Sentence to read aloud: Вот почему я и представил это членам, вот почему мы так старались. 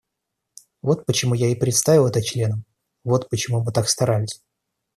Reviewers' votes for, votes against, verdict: 2, 0, accepted